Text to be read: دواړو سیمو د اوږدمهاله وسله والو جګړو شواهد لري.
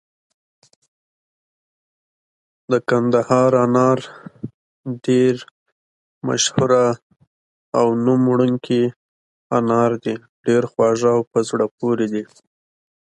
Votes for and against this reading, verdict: 0, 2, rejected